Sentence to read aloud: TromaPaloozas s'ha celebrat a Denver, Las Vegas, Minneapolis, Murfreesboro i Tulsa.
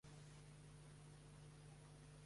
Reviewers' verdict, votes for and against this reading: rejected, 0, 2